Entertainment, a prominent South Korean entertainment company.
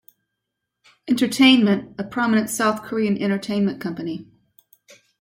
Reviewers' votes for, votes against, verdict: 2, 0, accepted